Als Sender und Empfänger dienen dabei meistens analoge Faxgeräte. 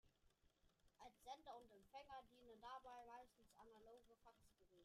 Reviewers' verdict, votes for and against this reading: rejected, 0, 2